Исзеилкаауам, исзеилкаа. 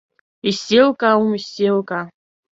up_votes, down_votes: 2, 0